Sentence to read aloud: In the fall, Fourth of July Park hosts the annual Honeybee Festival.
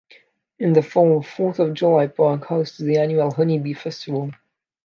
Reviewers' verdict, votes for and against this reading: accepted, 2, 0